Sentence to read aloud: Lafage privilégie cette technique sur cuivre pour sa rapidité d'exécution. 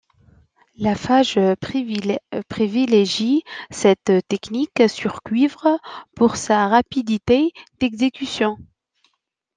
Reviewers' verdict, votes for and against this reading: rejected, 0, 2